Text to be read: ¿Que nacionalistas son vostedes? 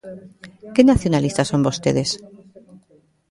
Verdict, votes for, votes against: accepted, 2, 1